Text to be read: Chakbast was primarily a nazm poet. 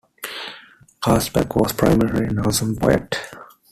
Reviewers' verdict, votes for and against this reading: rejected, 0, 2